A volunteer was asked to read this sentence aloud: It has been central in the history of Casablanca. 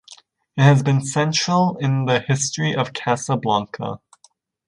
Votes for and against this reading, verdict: 0, 2, rejected